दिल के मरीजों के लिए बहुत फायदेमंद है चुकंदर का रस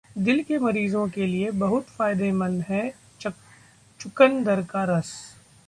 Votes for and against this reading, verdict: 1, 2, rejected